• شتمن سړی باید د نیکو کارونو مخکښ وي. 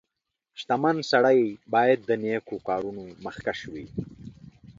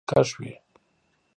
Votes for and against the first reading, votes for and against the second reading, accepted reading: 2, 0, 0, 3, first